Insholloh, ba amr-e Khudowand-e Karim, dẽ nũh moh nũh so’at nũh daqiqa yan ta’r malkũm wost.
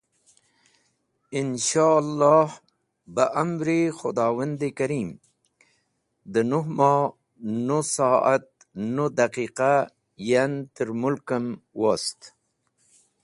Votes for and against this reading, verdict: 2, 1, accepted